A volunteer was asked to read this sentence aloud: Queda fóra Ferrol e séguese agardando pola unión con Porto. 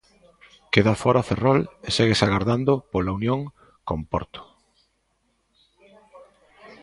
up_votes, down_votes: 2, 0